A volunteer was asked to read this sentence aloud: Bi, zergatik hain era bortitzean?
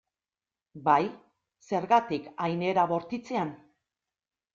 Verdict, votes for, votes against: rejected, 0, 3